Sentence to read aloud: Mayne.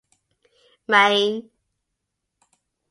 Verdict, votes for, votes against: accepted, 2, 0